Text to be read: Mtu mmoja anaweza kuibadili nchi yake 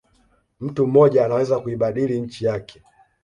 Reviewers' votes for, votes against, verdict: 2, 0, accepted